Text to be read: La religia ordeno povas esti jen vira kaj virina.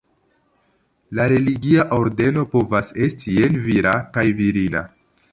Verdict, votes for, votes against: accepted, 2, 0